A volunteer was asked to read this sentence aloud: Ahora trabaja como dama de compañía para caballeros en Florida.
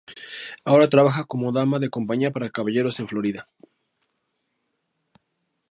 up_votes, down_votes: 2, 0